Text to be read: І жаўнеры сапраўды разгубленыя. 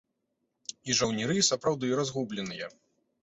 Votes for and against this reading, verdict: 3, 0, accepted